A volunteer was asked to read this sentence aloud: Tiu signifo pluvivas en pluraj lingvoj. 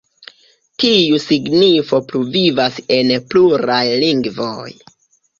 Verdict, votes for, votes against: rejected, 1, 2